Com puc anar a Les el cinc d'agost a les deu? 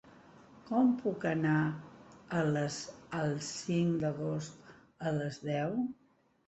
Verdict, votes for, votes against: accepted, 2, 0